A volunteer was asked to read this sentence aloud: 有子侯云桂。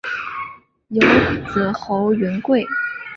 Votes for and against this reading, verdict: 2, 0, accepted